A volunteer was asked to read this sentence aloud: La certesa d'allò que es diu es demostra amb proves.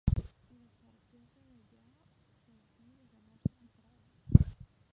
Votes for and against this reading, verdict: 0, 2, rejected